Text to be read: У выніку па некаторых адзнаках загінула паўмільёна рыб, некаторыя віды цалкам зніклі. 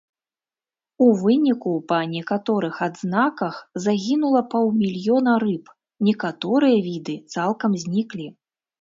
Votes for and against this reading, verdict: 2, 0, accepted